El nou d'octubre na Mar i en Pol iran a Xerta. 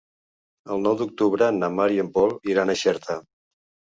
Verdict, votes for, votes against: accepted, 2, 0